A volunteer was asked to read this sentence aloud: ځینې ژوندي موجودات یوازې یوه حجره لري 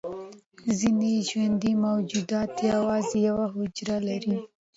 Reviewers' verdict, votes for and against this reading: rejected, 1, 2